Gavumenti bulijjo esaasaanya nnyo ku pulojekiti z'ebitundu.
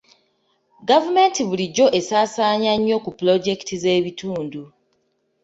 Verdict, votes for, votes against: accepted, 2, 0